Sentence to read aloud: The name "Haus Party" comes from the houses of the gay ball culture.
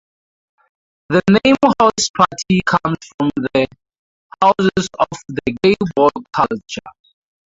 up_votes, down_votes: 0, 4